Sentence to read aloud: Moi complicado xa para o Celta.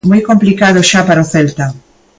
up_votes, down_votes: 2, 0